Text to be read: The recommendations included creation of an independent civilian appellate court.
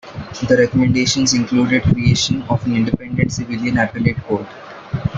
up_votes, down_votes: 1, 3